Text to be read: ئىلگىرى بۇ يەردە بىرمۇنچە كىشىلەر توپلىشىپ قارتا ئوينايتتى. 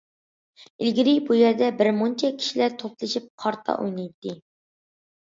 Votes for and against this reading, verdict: 2, 0, accepted